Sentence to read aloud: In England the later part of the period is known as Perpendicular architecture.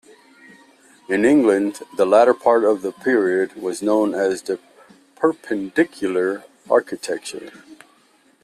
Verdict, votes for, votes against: accepted, 2, 0